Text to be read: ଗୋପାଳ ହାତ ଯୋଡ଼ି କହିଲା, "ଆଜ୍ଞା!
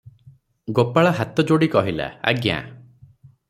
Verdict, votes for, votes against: accepted, 6, 0